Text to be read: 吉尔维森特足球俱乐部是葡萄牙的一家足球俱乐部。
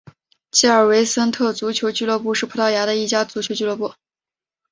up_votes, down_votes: 3, 0